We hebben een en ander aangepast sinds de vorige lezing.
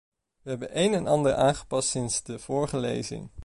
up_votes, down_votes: 2, 0